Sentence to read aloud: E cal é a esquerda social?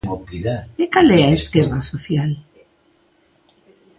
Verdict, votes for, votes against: rejected, 1, 2